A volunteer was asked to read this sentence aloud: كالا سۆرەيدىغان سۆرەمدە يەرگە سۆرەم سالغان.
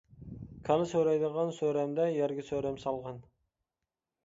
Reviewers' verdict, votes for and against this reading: accepted, 2, 0